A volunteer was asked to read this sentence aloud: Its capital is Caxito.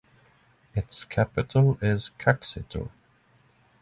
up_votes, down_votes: 3, 0